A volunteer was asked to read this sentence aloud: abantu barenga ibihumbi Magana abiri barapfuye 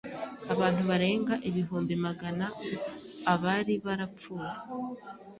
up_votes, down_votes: 2, 3